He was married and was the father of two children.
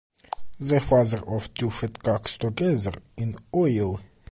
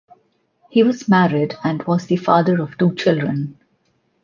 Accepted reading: second